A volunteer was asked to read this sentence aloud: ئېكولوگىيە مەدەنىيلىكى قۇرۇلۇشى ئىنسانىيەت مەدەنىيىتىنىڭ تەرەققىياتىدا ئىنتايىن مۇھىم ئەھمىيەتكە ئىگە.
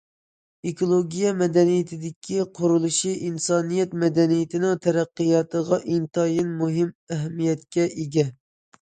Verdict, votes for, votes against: rejected, 0, 2